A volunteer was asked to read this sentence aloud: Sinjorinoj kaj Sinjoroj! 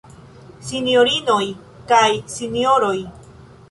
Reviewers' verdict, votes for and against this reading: accepted, 2, 1